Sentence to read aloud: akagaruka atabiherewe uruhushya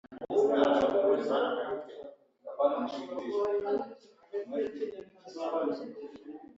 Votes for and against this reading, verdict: 0, 2, rejected